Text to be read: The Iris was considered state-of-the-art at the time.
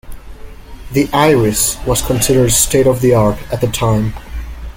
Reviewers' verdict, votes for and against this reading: accepted, 2, 0